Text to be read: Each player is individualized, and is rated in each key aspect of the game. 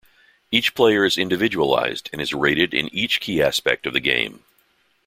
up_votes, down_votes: 2, 0